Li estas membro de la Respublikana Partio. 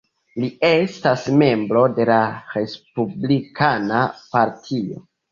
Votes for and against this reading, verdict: 1, 2, rejected